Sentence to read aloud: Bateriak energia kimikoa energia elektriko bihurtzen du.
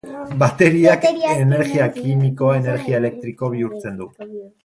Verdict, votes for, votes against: accepted, 2, 0